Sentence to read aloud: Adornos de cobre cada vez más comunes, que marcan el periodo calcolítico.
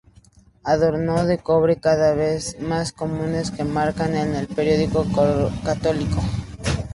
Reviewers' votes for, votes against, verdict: 0, 2, rejected